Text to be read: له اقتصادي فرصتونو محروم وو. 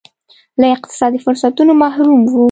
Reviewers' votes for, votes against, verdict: 2, 0, accepted